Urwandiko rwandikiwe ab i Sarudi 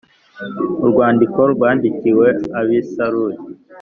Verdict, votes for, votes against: accepted, 2, 0